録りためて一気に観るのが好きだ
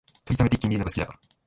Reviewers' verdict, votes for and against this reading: rejected, 1, 2